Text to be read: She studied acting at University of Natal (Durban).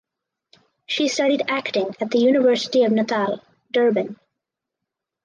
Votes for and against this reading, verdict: 0, 4, rejected